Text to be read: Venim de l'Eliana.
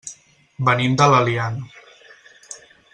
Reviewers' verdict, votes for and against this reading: accepted, 4, 0